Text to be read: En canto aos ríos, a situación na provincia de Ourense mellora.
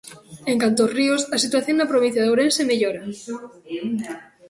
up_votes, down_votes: 2, 1